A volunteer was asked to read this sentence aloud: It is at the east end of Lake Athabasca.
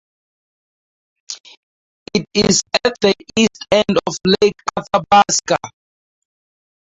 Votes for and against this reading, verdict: 2, 0, accepted